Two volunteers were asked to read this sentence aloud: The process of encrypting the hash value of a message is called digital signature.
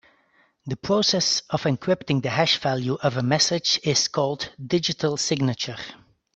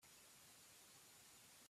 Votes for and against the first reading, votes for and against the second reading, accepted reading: 2, 0, 0, 2, first